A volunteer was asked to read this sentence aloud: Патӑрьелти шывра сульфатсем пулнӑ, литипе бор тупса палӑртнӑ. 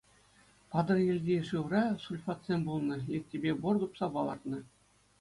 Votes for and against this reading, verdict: 2, 0, accepted